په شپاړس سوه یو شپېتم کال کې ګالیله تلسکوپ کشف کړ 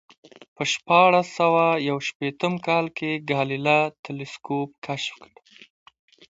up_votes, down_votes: 2, 1